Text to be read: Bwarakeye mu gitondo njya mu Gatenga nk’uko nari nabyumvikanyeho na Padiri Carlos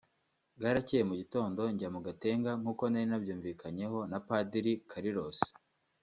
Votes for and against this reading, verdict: 2, 1, accepted